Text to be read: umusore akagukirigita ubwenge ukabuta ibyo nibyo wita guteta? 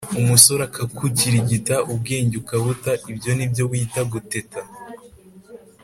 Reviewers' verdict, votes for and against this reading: accepted, 2, 0